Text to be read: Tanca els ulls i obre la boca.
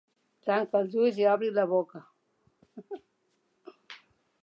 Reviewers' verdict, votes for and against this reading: accepted, 3, 0